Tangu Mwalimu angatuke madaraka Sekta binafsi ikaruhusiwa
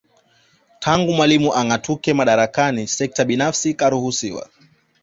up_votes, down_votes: 2, 0